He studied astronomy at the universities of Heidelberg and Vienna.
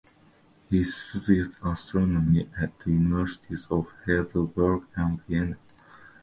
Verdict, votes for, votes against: rejected, 1, 2